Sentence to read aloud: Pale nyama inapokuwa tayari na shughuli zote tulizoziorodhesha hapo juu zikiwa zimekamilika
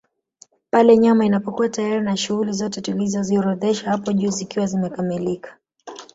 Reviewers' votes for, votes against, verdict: 1, 2, rejected